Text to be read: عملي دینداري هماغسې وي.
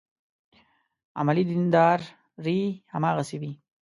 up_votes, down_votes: 0, 2